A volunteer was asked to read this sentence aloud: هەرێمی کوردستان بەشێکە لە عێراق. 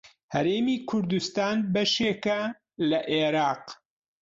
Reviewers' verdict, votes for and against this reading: accepted, 2, 0